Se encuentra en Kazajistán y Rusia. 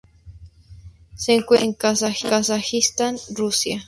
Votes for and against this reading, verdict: 2, 2, rejected